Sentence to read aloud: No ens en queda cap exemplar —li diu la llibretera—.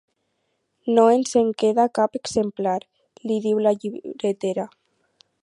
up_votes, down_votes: 0, 2